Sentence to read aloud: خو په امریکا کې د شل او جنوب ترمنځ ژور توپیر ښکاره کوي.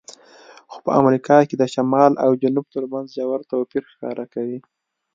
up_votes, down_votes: 1, 2